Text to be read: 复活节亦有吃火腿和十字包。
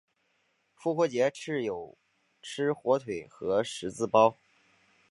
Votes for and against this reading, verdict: 4, 1, accepted